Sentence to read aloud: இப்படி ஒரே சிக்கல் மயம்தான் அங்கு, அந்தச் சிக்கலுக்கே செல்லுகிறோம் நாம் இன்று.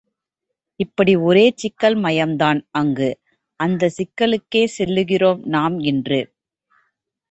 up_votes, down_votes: 2, 0